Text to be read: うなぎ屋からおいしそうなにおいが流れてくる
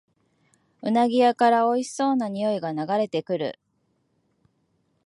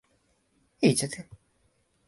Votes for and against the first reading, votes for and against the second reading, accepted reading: 2, 0, 4, 6, first